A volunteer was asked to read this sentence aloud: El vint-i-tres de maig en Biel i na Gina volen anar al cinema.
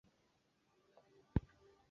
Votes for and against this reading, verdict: 0, 2, rejected